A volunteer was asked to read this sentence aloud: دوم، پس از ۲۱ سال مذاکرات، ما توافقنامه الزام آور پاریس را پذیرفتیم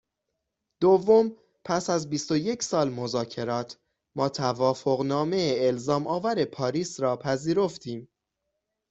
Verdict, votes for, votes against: rejected, 0, 2